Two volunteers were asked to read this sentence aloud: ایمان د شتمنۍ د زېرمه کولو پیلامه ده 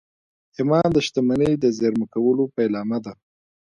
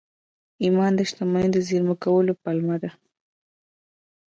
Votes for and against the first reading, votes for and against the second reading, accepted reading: 1, 2, 2, 0, second